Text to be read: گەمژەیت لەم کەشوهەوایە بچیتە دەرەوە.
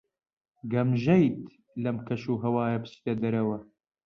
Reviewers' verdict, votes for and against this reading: accepted, 2, 0